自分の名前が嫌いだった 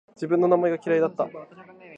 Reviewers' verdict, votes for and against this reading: accepted, 2, 0